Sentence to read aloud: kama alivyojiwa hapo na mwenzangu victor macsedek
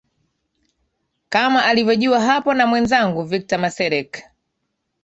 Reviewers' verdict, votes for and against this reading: accepted, 2, 1